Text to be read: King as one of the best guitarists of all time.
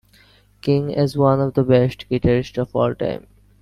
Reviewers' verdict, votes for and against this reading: rejected, 1, 2